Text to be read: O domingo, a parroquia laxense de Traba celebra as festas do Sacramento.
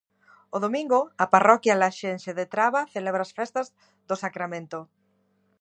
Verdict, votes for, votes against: accepted, 2, 0